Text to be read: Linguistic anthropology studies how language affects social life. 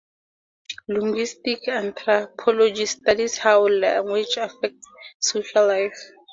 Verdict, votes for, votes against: accepted, 2, 0